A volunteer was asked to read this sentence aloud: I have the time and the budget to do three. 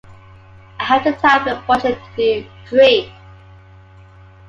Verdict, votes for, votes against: rejected, 0, 2